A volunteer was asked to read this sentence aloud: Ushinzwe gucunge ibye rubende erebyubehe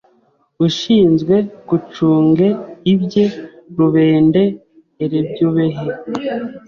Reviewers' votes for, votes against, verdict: 0, 2, rejected